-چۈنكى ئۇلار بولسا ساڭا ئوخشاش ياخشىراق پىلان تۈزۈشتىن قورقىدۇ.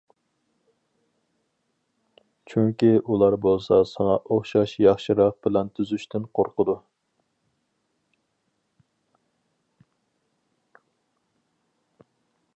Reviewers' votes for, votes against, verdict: 4, 0, accepted